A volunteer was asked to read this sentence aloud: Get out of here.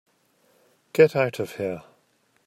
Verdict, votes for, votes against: accepted, 2, 0